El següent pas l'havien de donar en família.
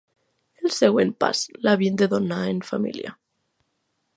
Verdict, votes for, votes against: accepted, 3, 0